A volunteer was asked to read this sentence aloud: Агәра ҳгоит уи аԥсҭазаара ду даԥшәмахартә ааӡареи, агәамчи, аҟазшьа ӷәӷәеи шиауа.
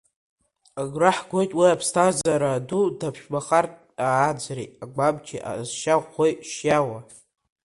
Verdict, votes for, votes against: accepted, 2, 1